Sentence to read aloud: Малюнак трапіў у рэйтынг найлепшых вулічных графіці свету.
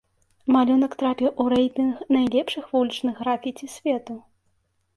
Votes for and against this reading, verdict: 2, 0, accepted